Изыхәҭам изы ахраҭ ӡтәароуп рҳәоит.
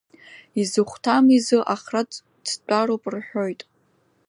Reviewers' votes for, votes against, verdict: 0, 2, rejected